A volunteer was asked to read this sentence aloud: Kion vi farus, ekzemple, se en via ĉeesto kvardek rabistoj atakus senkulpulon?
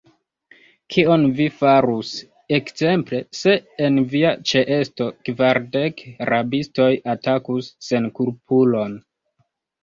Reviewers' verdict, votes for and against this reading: accepted, 2, 0